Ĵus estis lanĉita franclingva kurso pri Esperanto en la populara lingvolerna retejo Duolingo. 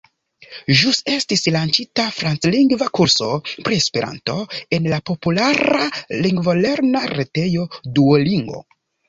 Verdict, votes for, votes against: accepted, 2, 0